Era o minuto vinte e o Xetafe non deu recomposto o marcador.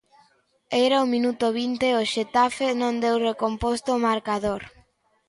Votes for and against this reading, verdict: 2, 0, accepted